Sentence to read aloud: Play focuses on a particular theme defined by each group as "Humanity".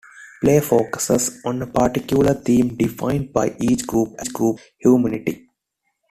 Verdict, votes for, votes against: rejected, 0, 2